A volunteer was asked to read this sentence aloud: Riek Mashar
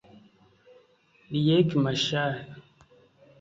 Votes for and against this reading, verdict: 1, 2, rejected